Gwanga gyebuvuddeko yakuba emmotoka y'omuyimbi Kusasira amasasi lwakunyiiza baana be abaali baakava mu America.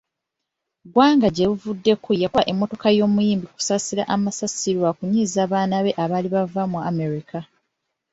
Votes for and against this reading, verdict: 2, 1, accepted